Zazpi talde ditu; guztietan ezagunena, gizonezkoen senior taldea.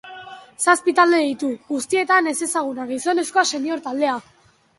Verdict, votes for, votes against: rejected, 3, 3